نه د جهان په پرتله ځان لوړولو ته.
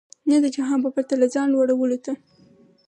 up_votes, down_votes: 4, 2